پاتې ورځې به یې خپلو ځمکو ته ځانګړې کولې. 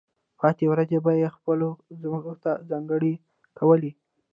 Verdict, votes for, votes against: rejected, 1, 2